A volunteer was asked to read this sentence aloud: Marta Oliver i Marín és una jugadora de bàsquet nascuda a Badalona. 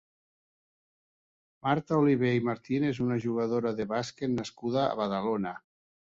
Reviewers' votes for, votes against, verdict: 1, 3, rejected